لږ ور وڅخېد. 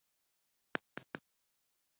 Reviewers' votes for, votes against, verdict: 1, 2, rejected